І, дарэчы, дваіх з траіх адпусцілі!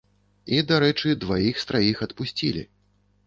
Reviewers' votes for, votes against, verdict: 2, 0, accepted